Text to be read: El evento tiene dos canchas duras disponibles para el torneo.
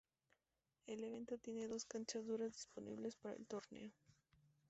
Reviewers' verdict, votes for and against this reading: rejected, 0, 2